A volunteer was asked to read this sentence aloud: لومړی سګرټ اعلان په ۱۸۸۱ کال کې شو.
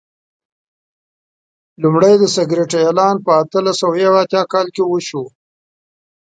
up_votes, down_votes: 0, 2